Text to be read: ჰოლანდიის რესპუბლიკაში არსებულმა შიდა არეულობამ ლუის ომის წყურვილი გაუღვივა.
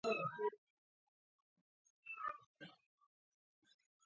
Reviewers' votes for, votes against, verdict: 0, 2, rejected